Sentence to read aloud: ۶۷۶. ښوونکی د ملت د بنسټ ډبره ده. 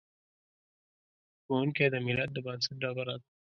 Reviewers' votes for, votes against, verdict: 0, 2, rejected